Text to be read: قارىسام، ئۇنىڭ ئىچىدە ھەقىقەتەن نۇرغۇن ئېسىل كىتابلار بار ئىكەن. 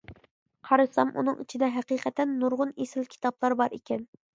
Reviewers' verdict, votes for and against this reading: accepted, 3, 0